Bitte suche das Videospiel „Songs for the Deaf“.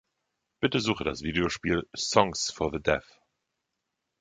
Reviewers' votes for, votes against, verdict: 2, 0, accepted